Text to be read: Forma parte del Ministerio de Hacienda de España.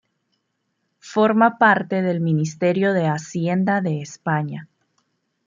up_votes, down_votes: 0, 2